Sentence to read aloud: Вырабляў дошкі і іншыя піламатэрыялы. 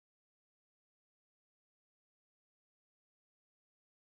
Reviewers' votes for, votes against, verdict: 0, 2, rejected